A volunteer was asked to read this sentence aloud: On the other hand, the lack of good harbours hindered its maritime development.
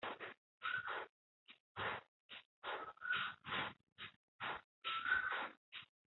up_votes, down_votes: 0, 2